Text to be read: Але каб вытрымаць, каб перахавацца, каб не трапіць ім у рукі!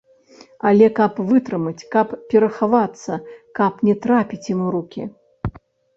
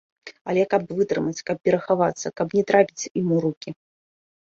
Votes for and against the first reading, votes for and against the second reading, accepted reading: 0, 2, 2, 0, second